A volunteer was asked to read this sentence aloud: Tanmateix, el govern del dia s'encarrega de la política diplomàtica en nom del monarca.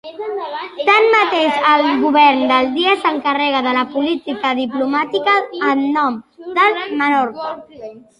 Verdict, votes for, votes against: rejected, 0, 3